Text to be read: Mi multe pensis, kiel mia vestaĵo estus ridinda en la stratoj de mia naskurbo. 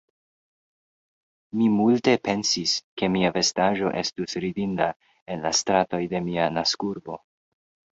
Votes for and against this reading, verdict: 0, 2, rejected